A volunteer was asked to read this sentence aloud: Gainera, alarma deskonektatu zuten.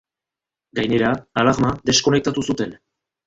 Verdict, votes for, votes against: rejected, 0, 2